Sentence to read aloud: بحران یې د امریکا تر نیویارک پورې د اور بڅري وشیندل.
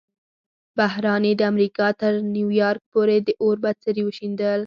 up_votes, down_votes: 4, 0